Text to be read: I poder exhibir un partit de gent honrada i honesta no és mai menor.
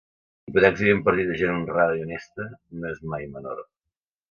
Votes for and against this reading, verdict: 0, 2, rejected